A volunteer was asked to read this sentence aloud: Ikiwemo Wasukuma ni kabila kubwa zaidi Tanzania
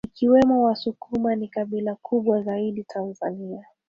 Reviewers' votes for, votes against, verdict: 2, 1, accepted